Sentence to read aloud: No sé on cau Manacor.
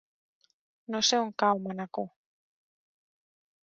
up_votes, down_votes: 4, 0